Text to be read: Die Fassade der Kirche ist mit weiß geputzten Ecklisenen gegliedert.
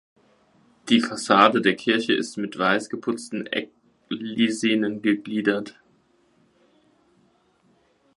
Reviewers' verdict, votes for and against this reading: rejected, 0, 2